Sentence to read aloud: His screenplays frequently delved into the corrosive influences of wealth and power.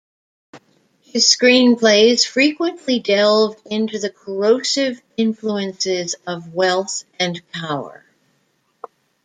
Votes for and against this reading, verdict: 2, 0, accepted